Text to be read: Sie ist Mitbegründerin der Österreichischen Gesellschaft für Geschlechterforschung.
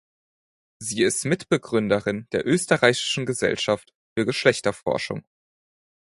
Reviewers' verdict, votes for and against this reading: accepted, 4, 0